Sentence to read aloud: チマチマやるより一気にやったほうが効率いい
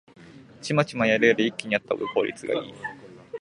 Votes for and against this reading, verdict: 0, 2, rejected